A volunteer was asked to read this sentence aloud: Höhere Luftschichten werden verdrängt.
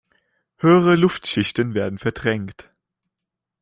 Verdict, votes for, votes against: accepted, 2, 0